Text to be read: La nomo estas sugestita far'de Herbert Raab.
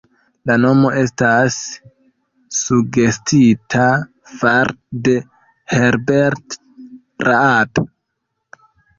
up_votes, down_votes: 0, 2